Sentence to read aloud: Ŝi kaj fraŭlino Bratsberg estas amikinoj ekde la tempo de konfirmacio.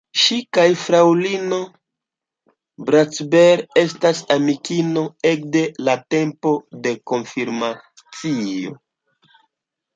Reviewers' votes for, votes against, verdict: 2, 0, accepted